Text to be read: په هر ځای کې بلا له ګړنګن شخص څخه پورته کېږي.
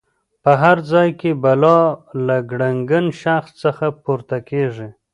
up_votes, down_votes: 0, 2